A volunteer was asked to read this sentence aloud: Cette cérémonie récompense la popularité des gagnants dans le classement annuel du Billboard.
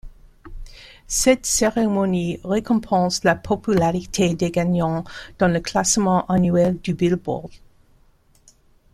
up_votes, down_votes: 2, 0